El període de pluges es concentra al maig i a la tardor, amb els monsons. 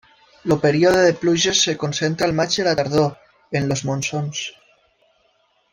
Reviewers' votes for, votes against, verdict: 0, 2, rejected